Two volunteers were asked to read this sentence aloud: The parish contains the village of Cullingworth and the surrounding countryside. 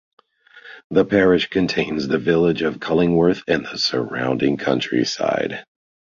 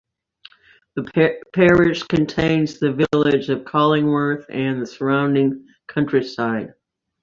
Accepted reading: first